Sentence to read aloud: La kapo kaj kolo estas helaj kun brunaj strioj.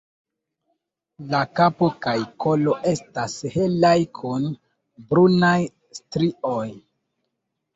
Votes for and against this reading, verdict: 2, 0, accepted